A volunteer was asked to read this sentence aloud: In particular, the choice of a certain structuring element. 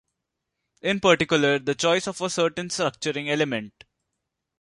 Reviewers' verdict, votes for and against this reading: accepted, 2, 0